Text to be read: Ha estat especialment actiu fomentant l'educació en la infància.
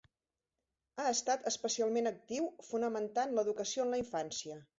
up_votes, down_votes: 1, 2